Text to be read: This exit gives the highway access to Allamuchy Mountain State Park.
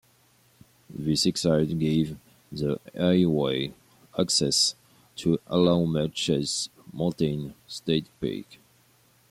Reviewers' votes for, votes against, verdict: 1, 2, rejected